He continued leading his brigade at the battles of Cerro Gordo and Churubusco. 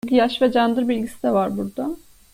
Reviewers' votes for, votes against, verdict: 0, 2, rejected